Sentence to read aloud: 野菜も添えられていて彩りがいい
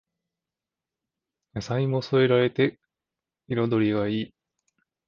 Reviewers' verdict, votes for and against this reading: rejected, 1, 2